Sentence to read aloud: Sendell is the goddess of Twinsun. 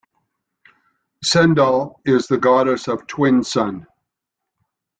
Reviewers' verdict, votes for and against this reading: accepted, 2, 0